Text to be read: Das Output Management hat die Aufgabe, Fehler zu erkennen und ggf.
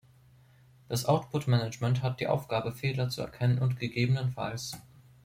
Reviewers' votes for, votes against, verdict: 3, 0, accepted